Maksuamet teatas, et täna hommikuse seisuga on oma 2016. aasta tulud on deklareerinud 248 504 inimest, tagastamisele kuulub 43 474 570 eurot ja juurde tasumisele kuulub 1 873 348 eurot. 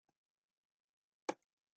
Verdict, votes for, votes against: rejected, 0, 2